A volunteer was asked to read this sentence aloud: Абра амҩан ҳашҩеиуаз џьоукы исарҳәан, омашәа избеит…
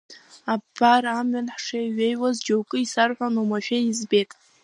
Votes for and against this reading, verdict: 0, 2, rejected